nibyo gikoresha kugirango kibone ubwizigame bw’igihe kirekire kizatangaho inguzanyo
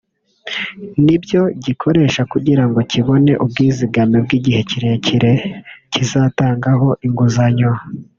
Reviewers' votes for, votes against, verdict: 1, 2, rejected